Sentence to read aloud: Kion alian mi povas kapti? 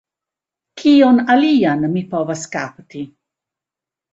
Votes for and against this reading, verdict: 2, 0, accepted